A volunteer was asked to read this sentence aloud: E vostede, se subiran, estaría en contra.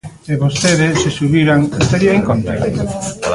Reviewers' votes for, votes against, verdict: 1, 2, rejected